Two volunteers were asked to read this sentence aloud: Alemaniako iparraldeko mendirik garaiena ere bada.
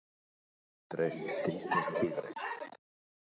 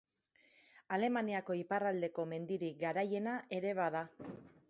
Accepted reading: second